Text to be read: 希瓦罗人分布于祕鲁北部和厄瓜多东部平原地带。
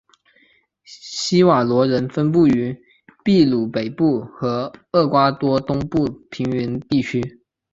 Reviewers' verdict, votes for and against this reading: rejected, 1, 2